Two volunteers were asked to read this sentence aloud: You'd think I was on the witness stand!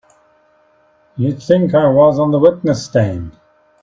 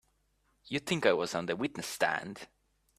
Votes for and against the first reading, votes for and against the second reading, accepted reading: 1, 2, 2, 0, second